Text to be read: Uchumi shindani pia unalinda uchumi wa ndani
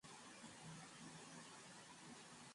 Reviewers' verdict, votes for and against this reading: rejected, 0, 2